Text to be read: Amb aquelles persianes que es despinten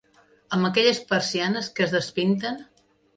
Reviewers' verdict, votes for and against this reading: accepted, 2, 0